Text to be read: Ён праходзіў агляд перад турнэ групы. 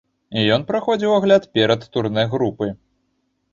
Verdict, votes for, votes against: accepted, 3, 0